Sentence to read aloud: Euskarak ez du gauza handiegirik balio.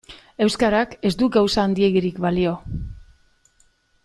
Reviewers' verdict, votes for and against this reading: accepted, 2, 0